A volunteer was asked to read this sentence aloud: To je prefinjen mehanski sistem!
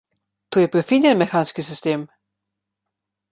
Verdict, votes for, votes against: accepted, 2, 0